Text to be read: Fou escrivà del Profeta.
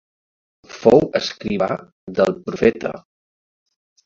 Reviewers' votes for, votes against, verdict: 2, 0, accepted